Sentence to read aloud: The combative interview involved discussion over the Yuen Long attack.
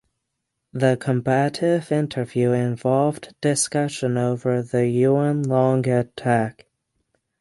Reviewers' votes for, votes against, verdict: 3, 6, rejected